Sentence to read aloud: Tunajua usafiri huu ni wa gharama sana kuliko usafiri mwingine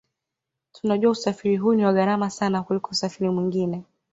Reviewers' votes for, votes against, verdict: 2, 0, accepted